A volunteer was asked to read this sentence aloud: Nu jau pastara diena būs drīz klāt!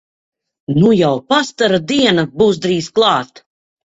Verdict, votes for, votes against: accepted, 2, 0